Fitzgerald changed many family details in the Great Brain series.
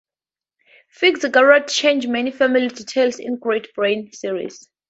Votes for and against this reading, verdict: 2, 0, accepted